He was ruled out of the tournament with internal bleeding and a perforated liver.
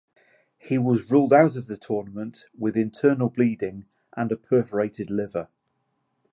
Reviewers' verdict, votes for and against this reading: accepted, 2, 0